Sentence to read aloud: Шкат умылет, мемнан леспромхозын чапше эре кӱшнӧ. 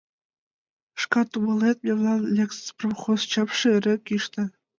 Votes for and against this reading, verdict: 2, 1, accepted